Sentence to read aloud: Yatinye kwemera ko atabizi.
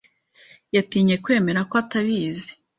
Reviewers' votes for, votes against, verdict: 2, 0, accepted